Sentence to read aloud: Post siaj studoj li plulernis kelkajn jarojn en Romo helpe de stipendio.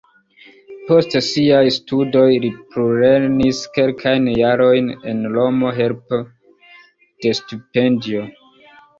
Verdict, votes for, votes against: accepted, 2, 0